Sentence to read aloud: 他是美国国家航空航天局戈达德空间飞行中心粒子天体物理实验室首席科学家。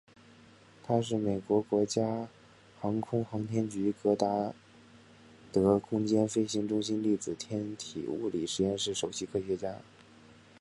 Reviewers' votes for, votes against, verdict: 2, 0, accepted